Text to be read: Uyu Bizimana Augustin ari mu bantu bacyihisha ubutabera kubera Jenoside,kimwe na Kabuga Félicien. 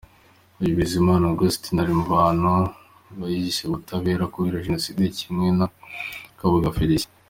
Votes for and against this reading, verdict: 2, 1, accepted